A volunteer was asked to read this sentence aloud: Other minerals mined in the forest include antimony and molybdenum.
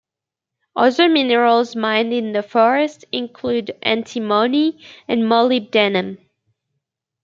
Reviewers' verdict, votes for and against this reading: accepted, 2, 0